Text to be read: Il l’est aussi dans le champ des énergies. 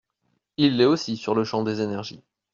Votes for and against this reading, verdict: 1, 2, rejected